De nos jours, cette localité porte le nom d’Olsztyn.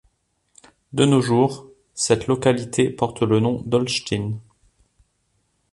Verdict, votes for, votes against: accepted, 2, 0